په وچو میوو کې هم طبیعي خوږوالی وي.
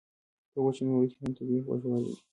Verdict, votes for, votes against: accepted, 2, 0